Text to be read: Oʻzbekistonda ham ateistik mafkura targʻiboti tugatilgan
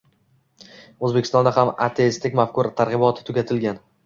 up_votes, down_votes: 2, 0